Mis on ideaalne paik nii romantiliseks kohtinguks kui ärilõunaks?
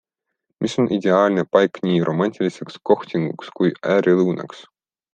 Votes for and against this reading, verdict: 2, 0, accepted